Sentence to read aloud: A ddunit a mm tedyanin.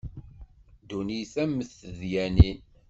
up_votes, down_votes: 2, 0